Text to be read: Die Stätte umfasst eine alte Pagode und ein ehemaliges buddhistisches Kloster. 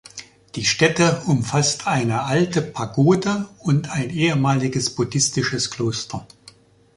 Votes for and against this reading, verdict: 2, 1, accepted